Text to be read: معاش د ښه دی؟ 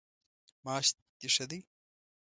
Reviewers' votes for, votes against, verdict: 2, 0, accepted